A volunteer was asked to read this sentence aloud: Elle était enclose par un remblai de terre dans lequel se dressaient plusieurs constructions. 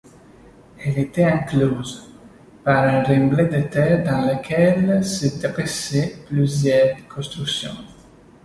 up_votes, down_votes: 2, 1